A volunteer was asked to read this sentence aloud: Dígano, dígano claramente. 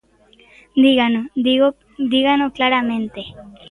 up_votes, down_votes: 1, 2